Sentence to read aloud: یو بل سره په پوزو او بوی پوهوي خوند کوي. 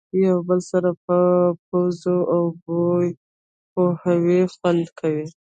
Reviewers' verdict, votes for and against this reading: rejected, 0, 2